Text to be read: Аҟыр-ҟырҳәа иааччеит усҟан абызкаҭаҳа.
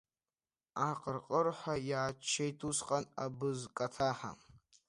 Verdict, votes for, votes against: rejected, 1, 2